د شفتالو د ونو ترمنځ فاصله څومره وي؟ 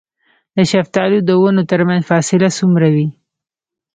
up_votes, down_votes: 2, 0